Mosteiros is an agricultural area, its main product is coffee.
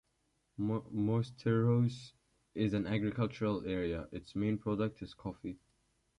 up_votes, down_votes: 2, 0